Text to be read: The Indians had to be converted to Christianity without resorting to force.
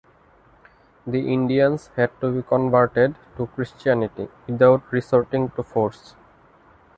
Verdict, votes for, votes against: rejected, 1, 2